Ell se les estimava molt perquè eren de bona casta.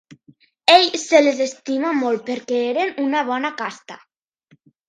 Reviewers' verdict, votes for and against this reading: rejected, 1, 2